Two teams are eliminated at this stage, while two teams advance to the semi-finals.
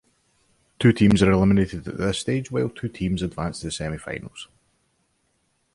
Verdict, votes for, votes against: accepted, 2, 0